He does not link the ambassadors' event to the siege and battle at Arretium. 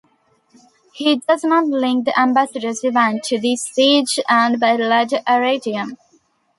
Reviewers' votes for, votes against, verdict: 2, 1, accepted